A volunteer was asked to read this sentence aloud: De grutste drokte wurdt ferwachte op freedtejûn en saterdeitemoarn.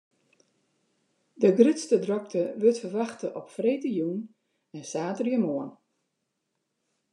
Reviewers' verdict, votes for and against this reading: rejected, 1, 2